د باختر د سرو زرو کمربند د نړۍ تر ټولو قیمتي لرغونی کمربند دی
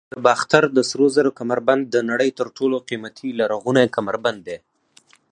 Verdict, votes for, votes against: accepted, 4, 0